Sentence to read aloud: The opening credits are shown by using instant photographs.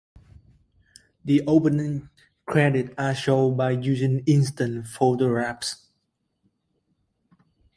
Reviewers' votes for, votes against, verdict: 2, 1, accepted